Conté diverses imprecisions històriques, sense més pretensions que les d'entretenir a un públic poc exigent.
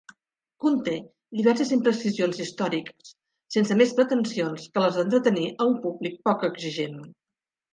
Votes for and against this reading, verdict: 1, 2, rejected